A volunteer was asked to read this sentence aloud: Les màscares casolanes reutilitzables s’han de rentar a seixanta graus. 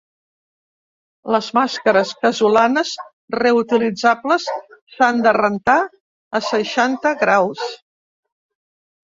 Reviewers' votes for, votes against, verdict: 2, 1, accepted